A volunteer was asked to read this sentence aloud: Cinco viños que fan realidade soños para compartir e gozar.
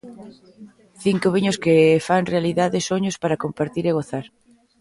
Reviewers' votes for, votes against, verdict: 1, 2, rejected